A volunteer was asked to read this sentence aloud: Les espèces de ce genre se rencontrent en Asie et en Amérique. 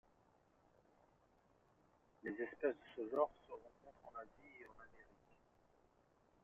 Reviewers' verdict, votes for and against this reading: rejected, 0, 2